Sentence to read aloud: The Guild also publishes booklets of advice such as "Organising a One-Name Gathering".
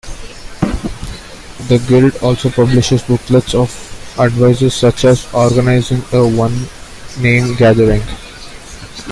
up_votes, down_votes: 0, 2